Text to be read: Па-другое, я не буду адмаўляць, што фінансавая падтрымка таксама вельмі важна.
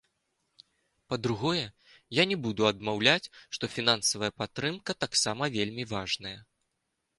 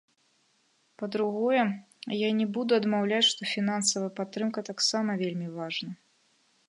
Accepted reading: second